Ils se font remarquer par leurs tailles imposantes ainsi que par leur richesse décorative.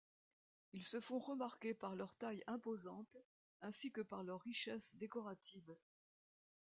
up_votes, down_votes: 0, 2